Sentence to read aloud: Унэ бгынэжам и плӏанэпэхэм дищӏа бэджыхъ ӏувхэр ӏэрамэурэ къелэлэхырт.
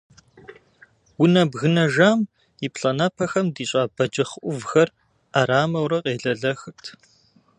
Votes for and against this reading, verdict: 2, 0, accepted